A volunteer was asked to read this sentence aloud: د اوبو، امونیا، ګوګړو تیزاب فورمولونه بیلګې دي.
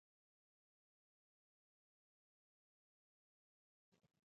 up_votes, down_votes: 1, 2